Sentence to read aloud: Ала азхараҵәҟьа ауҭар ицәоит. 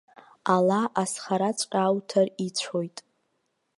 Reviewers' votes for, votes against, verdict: 2, 0, accepted